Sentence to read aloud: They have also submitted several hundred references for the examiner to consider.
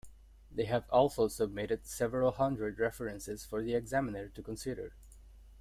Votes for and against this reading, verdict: 2, 0, accepted